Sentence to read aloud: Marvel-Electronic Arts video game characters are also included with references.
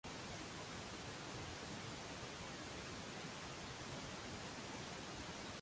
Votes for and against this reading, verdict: 0, 2, rejected